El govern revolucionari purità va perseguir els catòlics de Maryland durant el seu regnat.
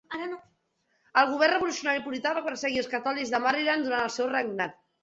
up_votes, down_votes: 2, 0